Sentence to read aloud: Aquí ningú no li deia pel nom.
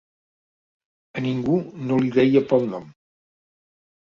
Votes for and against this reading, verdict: 0, 2, rejected